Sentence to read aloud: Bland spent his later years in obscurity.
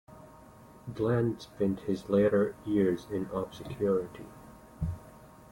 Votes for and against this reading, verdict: 0, 2, rejected